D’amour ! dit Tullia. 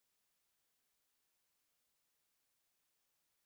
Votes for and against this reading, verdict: 1, 2, rejected